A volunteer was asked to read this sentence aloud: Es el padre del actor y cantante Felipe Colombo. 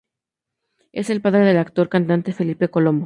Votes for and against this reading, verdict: 2, 0, accepted